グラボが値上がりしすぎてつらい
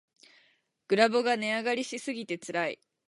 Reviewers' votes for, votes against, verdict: 8, 0, accepted